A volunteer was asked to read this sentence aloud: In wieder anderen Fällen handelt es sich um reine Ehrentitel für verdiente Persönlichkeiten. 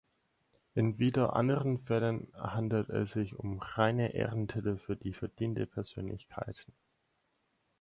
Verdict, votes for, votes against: rejected, 0, 4